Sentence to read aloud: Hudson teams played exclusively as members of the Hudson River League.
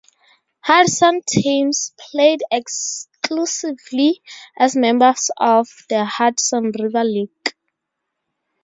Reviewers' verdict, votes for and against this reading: accepted, 2, 0